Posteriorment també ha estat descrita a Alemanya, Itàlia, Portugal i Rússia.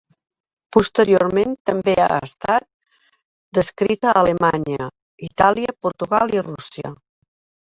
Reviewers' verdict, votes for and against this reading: rejected, 1, 2